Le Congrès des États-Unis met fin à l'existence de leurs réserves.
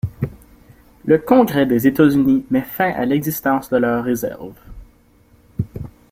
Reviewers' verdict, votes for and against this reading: accepted, 2, 0